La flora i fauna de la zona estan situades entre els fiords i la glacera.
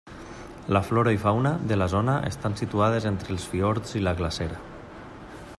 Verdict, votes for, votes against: accepted, 3, 0